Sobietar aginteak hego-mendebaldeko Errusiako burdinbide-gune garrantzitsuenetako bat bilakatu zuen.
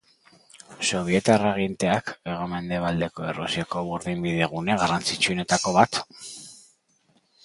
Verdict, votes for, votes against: rejected, 0, 3